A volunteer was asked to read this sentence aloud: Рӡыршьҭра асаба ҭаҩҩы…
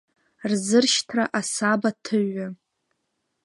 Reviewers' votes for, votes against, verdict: 1, 2, rejected